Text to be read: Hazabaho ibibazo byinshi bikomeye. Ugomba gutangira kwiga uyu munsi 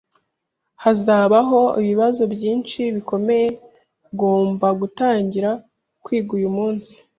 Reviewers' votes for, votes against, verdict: 0, 2, rejected